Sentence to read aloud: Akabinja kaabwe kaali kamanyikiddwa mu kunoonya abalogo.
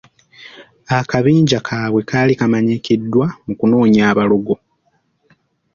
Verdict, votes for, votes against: accepted, 2, 0